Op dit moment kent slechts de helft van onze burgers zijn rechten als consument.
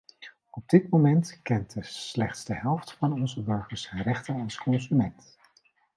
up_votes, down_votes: 2, 0